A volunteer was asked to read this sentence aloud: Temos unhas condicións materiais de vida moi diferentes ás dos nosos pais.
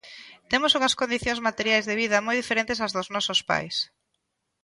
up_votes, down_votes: 2, 0